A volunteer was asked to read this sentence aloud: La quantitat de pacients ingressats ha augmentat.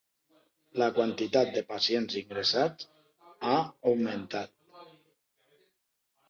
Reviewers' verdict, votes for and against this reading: accepted, 7, 0